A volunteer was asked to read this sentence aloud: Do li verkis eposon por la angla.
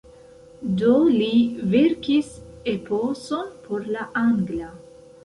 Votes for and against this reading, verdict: 0, 2, rejected